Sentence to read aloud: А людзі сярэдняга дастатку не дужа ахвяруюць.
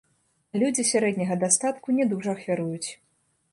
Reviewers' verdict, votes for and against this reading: rejected, 0, 2